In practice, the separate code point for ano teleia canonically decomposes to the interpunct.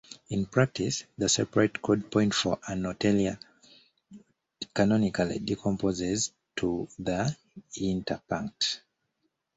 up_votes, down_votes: 2, 1